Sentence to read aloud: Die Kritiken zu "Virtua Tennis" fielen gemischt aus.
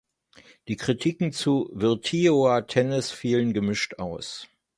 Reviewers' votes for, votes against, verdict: 0, 3, rejected